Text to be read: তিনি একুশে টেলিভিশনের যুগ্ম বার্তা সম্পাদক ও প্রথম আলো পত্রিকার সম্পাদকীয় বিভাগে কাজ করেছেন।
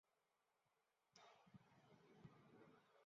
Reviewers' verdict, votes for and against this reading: rejected, 0, 2